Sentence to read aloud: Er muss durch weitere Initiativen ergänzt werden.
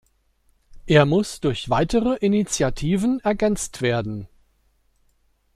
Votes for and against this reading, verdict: 2, 0, accepted